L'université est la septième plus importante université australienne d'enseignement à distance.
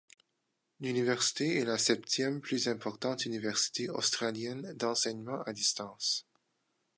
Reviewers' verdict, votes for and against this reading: accepted, 2, 0